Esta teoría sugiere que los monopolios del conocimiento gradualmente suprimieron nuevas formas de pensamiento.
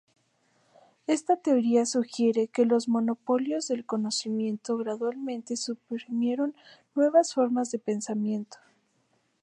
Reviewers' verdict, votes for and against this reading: rejected, 0, 2